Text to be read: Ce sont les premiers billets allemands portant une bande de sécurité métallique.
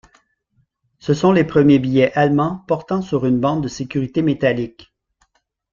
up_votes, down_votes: 2, 3